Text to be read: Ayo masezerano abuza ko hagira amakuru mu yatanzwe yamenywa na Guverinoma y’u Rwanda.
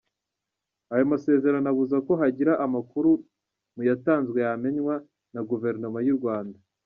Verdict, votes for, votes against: accepted, 2, 0